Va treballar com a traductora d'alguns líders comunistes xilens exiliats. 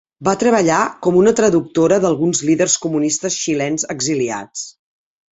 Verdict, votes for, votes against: rejected, 1, 2